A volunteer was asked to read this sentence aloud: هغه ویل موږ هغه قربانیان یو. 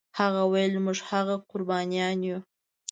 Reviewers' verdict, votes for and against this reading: accepted, 2, 0